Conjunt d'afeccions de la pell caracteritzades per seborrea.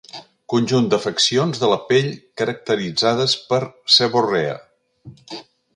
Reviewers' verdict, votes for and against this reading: accepted, 2, 0